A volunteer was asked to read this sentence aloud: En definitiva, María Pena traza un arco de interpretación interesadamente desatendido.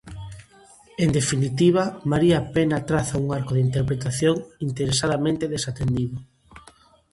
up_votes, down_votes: 0, 2